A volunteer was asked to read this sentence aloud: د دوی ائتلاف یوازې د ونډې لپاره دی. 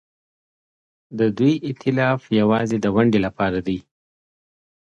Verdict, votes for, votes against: accepted, 2, 0